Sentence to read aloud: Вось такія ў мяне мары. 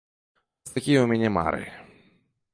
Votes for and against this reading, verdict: 0, 2, rejected